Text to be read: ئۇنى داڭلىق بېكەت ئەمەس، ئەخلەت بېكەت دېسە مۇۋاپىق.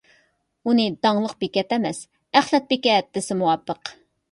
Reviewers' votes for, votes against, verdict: 2, 0, accepted